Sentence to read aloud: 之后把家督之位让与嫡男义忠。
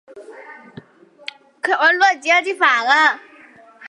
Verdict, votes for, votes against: rejected, 0, 5